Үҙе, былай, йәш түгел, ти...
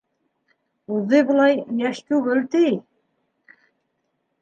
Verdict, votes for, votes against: accepted, 3, 0